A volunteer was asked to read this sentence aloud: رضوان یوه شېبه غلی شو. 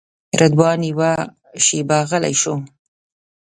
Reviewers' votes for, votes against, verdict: 1, 2, rejected